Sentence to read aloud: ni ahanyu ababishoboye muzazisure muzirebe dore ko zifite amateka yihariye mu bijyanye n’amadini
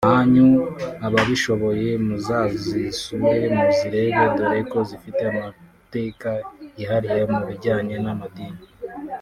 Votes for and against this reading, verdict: 1, 2, rejected